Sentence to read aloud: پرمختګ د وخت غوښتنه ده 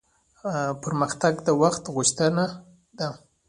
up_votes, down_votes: 1, 2